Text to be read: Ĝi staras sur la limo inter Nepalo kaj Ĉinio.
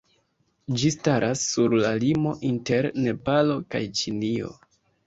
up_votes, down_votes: 2, 0